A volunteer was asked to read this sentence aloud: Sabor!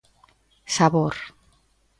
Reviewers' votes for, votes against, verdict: 2, 0, accepted